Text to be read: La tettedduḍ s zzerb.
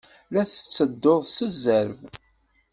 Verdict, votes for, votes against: accepted, 2, 0